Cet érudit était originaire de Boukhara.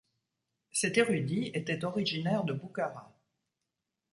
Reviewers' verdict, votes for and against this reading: accepted, 2, 0